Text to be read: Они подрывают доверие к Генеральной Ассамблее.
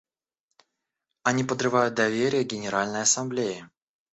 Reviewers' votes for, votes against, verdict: 2, 0, accepted